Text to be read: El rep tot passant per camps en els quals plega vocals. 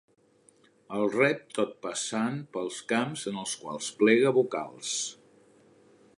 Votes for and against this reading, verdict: 1, 2, rejected